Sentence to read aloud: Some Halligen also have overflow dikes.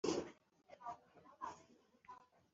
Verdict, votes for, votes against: rejected, 0, 2